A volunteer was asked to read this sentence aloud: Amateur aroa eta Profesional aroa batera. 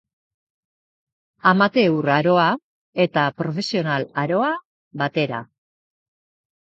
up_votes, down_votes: 2, 0